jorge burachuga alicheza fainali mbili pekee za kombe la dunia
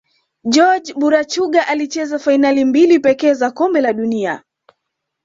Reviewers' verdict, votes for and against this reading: accepted, 2, 0